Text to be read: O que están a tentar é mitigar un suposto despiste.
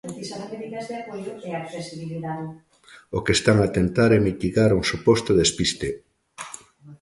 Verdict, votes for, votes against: rejected, 1, 2